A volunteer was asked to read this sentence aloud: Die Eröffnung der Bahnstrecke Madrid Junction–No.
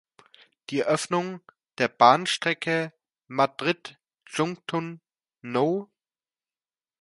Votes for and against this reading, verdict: 0, 2, rejected